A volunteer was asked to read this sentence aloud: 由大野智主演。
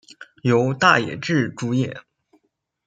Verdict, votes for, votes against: accepted, 2, 0